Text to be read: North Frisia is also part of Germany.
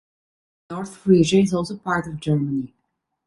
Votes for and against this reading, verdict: 2, 0, accepted